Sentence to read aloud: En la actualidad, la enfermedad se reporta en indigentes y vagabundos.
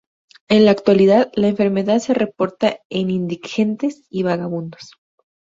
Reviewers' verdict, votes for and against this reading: accepted, 4, 0